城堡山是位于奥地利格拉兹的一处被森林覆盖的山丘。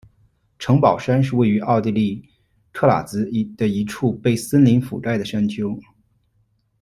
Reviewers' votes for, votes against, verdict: 1, 2, rejected